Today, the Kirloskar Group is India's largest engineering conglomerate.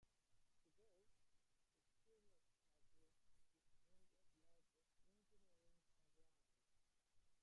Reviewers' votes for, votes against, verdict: 0, 2, rejected